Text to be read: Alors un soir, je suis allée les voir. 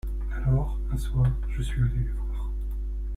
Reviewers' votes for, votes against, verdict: 1, 2, rejected